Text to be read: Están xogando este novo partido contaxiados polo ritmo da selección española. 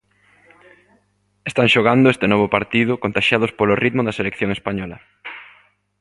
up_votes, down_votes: 2, 0